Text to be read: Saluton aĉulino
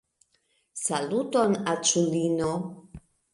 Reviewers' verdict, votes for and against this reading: accepted, 2, 0